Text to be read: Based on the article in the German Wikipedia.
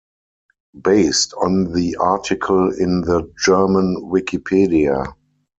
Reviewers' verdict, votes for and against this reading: accepted, 4, 0